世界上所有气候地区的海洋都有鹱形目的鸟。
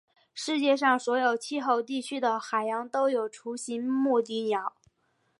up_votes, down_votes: 3, 2